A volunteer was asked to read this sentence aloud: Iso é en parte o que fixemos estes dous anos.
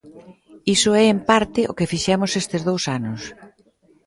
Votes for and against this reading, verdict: 2, 0, accepted